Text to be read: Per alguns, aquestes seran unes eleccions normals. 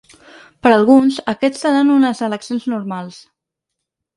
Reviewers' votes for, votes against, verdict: 0, 6, rejected